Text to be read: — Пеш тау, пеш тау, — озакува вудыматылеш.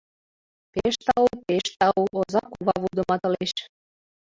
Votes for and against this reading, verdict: 1, 4, rejected